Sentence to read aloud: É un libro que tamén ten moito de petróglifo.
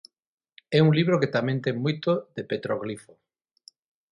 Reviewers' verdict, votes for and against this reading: rejected, 0, 6